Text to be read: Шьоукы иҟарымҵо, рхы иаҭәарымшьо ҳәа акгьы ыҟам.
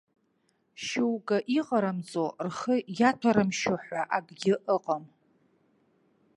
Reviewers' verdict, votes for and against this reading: accepted, 2, 0